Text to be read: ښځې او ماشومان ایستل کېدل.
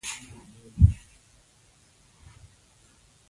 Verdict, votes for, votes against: rejected, 1, 2